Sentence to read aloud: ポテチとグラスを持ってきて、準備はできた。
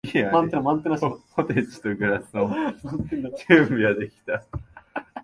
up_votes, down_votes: 0, 2